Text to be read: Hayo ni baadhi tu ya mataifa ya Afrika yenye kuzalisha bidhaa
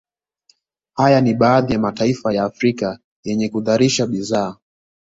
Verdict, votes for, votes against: accepted, 2, 1